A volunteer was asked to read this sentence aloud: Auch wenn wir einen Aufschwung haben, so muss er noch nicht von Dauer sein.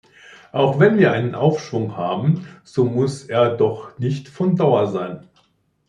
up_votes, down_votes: 0, 2